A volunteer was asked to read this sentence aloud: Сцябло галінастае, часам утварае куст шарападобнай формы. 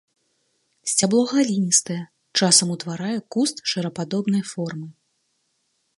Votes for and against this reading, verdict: 1, 2, rejected